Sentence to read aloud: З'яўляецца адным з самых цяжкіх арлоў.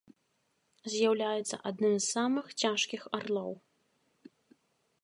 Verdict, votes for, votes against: accepted, 2, 0